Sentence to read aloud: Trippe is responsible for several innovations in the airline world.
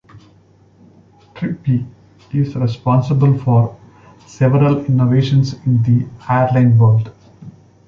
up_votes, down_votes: 1, 2